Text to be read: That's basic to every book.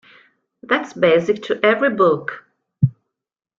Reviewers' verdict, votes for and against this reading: accepted, 2, 0